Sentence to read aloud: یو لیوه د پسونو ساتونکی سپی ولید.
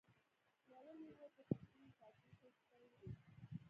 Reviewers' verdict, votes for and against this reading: rejected, 0, 2